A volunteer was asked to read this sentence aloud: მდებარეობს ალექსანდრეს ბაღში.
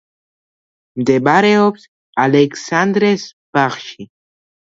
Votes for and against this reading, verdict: 1, 2, rejected